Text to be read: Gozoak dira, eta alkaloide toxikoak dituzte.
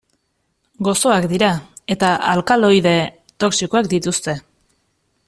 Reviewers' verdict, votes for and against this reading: accepted, 2, 0